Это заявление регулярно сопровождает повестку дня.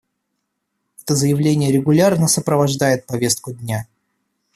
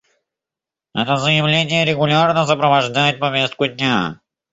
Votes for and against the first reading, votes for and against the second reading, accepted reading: 2, 0, 0, 3, first